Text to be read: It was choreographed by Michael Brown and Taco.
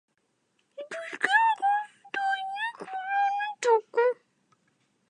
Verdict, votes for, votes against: rejected, 0, 2